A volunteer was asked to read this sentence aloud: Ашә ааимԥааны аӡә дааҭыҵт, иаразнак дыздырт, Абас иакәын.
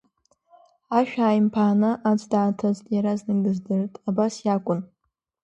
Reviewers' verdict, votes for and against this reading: accepted, 2, 1